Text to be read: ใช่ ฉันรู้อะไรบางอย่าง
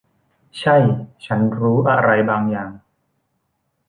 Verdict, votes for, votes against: accepted, 2, 0